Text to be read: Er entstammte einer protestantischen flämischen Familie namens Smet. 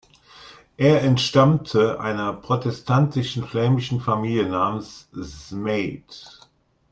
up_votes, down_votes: 2, 0